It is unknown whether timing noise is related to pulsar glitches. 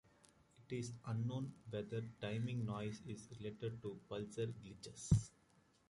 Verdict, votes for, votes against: rejected, 0, 2